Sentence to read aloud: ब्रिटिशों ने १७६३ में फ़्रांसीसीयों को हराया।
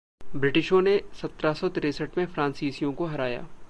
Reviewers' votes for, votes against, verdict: 0, 2, rejected